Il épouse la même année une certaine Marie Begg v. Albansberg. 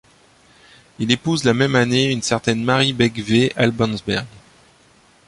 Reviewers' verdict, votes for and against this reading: accepted, 2, 0